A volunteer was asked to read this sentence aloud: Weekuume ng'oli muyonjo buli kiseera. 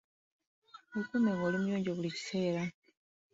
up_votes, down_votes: 2, 0